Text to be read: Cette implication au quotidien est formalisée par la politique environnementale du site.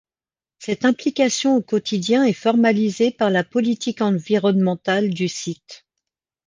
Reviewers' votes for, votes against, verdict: 2, 0, accepted